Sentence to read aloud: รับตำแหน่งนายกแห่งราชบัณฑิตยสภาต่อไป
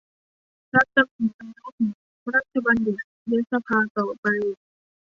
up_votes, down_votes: 1, 2